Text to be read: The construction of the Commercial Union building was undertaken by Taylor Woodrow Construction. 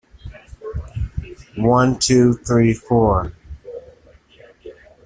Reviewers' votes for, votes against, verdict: 0, 2, rejected